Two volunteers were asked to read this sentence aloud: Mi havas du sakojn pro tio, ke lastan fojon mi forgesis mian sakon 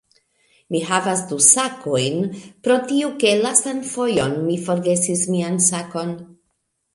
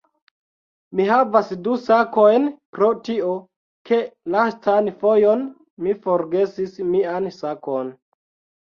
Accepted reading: first